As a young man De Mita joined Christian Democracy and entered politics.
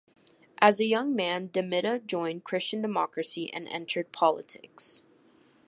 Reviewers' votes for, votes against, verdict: 2, 0, accepted